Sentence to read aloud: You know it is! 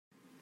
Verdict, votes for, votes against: rejected, 1, 2